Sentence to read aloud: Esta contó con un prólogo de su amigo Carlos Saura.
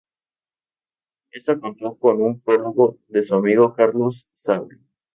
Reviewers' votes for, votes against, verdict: 0, 2, rejected